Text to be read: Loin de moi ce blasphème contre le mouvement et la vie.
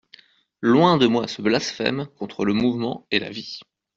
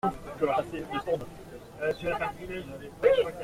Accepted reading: first